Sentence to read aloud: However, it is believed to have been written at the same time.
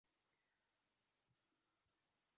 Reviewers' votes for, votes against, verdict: 0, 2, rejected